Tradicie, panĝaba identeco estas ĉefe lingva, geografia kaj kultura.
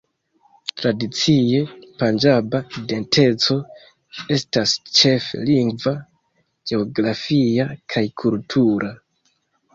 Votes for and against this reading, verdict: 0, 2, rejected